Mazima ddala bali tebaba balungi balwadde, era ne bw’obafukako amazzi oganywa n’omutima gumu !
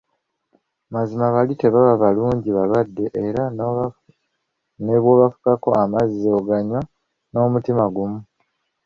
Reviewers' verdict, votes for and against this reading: rejected, 1, 2